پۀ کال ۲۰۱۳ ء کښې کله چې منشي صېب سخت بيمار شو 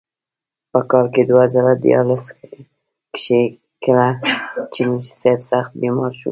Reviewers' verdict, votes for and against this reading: rejected, 0, 2